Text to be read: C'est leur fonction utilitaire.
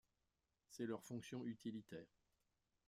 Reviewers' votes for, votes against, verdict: 1, 2, rejected